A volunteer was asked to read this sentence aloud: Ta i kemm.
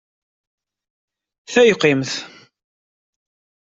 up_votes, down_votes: 1, 2